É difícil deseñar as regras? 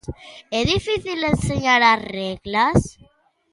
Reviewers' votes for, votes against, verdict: 1, 2, rejected